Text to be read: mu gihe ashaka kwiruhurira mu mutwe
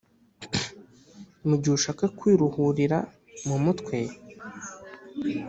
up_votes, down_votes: 0, 2